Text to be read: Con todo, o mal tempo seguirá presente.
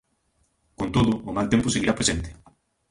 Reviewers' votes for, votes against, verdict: 2, 0, accepted